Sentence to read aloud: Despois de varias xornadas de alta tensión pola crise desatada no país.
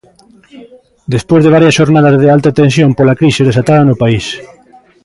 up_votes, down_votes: 1, 2